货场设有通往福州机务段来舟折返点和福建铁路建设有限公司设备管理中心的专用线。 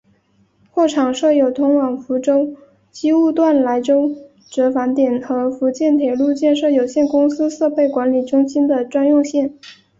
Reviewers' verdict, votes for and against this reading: accepted, 2, 0